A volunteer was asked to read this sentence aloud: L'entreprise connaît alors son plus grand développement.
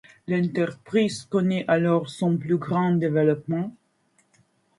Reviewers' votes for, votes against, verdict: 2, 0, accepted